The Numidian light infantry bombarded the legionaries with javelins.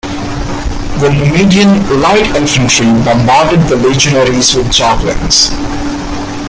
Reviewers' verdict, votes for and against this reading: rejected, 1, 2